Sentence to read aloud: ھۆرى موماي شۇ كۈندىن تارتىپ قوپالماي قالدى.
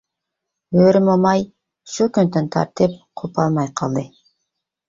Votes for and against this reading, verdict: 3, 0, accepted